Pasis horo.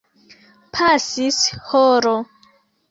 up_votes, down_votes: 2, 1